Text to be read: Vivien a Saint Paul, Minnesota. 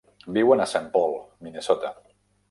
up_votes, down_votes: 0, 2